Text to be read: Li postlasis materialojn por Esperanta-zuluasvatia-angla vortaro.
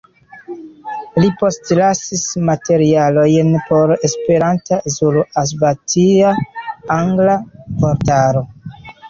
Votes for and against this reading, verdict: 0, 2, rejected